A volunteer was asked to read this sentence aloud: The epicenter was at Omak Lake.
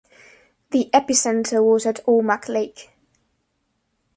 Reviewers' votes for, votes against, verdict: 2, 0, accepted